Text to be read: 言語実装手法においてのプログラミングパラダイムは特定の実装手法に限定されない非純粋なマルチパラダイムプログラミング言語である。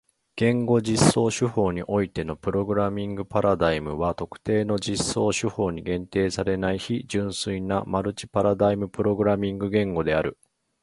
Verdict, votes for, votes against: rejected, 0, 2